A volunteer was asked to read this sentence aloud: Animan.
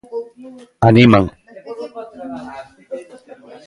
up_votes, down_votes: 0, 2